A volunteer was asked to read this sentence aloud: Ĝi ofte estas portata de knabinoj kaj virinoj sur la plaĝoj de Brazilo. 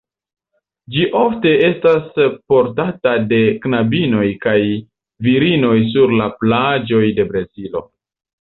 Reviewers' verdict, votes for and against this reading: rejected, 1, 2